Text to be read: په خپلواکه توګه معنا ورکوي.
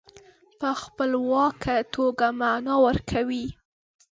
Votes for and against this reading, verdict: 2, 0, accepted